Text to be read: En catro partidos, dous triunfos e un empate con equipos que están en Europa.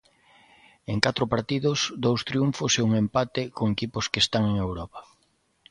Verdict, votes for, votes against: accepted, 2, 0